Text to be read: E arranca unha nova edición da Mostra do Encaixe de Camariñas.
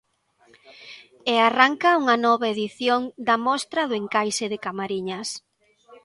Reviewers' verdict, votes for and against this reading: rejected, 1, 2